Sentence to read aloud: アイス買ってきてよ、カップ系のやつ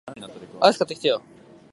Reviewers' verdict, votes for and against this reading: rejected, 1, 2